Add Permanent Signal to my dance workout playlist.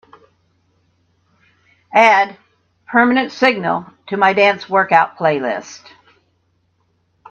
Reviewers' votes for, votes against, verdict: 2, 1, accepted